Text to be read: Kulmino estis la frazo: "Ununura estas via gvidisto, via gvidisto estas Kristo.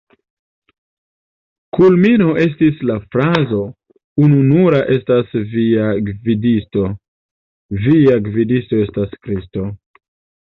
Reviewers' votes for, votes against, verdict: 1, 2, rejected